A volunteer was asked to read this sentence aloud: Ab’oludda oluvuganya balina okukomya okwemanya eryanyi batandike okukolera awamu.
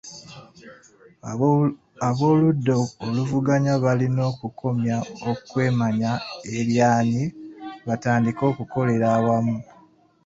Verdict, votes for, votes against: accepted, 2, 1